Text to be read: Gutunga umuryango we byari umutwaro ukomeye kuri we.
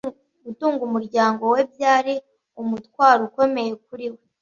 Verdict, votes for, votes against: accepted, 2, 0